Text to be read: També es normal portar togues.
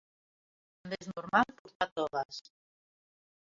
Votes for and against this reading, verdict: 0, 2, rejected